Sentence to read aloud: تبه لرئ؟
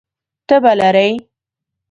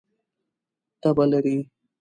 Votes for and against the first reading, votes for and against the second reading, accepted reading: 2, 0, 1, 2, first